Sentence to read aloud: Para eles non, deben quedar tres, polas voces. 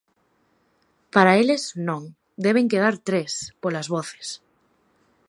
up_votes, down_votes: 2, 0